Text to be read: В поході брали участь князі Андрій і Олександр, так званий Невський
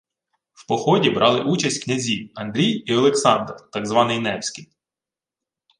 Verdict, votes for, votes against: accepted, 2, 0